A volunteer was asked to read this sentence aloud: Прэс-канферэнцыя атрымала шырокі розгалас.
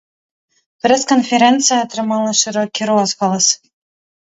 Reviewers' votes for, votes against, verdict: 2, 0, accepted